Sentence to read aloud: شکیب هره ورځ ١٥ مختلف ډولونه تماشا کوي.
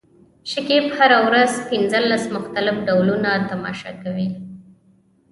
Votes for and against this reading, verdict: 0, 2, rejected